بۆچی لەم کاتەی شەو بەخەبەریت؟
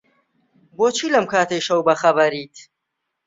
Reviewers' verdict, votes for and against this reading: accepted, 2, 0